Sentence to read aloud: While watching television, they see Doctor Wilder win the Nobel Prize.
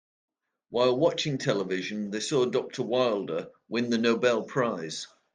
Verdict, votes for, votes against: rejected, 1, 2